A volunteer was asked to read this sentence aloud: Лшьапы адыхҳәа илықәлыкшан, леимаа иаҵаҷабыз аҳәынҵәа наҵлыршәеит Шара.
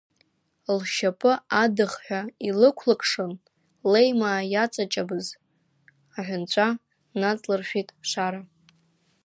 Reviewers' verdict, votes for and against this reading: rejected, 0, 2